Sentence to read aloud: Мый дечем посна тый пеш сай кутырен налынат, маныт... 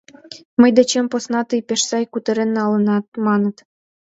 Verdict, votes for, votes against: accepted, 2, 0